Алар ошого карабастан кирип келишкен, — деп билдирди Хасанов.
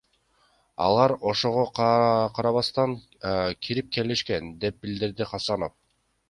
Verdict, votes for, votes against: rejected, 1, 2